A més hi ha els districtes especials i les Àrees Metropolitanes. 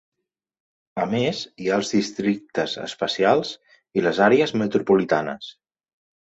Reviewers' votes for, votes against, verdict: 2, 0, accepted